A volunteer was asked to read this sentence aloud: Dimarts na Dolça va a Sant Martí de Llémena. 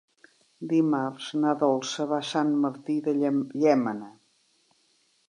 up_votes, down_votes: 1, 4